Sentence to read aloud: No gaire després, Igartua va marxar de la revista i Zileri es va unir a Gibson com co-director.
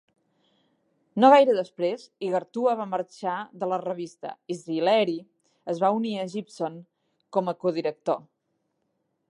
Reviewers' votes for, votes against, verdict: 3, 4, rejected